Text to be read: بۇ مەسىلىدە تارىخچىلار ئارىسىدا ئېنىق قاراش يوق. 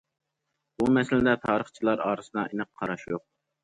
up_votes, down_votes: 2, 0